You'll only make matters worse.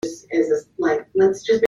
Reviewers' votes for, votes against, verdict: 0, 2, rejected